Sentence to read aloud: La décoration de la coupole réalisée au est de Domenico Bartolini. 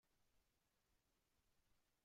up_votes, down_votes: 0, 2